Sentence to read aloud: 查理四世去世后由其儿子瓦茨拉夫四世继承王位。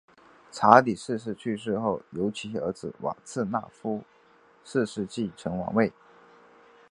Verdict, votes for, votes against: accepted, 2, 1